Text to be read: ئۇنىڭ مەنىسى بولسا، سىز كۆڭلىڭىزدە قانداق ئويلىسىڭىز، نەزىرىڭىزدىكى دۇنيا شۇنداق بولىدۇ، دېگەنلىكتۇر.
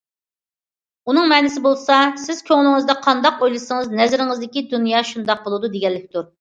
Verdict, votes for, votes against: accepted, 2, 0